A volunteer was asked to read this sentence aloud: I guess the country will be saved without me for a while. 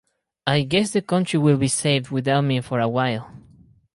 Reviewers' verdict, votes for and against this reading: accepted, 4, 0